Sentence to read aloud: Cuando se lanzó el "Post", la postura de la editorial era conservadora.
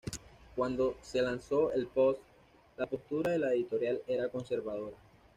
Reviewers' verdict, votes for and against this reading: accepted, 2, 0